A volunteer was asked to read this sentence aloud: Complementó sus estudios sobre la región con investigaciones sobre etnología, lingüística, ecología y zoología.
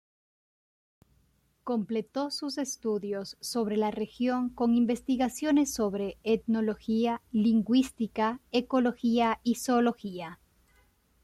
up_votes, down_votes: 0, 2